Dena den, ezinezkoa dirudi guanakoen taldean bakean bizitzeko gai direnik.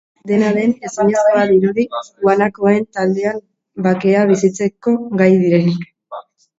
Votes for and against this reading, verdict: 0, 2, rejected